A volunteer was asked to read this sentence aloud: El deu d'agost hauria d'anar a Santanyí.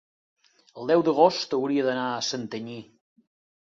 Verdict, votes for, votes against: accepted, 5, 0